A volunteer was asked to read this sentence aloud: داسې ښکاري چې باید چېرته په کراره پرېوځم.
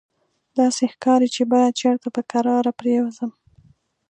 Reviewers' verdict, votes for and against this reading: accepted, 2, 0